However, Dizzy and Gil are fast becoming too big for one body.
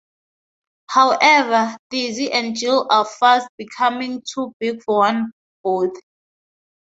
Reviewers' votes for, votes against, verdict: 0, 4, rejected